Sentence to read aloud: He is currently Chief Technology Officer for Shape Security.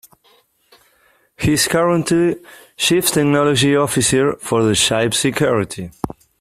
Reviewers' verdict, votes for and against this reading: rejected, 1, 2